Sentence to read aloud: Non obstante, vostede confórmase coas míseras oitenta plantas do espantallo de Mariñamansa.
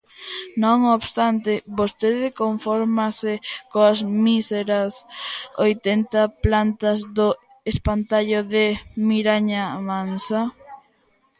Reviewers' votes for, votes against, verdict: 0, 2, rejected